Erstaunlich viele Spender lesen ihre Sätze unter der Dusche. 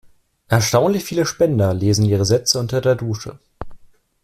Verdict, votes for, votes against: accepted, 2, 0